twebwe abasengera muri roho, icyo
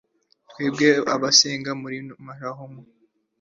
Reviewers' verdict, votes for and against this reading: rejected, 1, 2